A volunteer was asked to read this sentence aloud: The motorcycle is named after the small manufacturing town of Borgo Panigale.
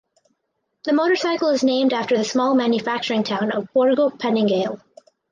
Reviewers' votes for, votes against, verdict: 4, 0, accepted